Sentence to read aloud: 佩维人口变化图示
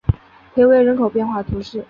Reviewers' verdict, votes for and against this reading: accepted, 3, 0